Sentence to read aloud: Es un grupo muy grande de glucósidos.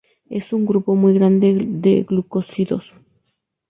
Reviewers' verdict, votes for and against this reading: rejected, 0, 2